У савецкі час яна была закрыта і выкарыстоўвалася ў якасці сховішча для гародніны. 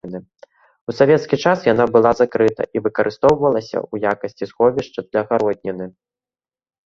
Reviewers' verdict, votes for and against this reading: rejected, 0, 2